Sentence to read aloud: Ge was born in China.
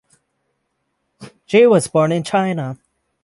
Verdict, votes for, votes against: accepted, 6, 0